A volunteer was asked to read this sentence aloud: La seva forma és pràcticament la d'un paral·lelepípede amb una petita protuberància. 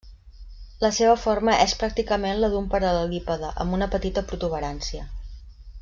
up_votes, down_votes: 1, 2